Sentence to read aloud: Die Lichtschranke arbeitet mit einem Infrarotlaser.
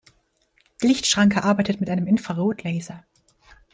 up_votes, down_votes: 2, 0